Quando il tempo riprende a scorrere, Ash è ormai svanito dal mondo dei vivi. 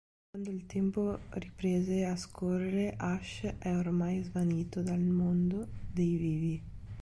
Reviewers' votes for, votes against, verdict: 0, 2, rejected